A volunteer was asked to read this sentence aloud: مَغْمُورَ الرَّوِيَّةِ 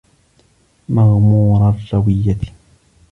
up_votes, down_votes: 1, 2